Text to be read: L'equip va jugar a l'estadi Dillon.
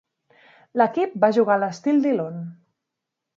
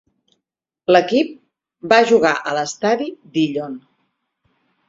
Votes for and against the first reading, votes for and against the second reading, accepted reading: 1, 2, 6, 2, second